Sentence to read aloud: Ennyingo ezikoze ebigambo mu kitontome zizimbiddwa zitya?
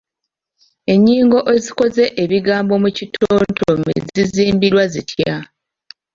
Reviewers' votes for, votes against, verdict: 1, 2, rejected